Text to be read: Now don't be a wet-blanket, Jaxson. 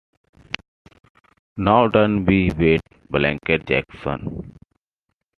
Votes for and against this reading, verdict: 1, 2, rejected